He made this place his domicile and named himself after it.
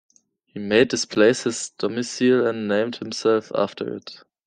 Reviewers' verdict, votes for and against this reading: accepted, 2, 1